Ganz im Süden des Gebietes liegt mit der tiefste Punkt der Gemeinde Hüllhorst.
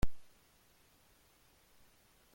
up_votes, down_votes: 0, 2